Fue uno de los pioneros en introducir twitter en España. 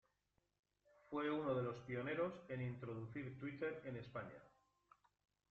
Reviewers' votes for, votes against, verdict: 2, 0, accepted